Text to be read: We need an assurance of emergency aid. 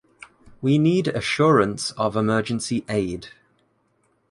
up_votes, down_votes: 0, 2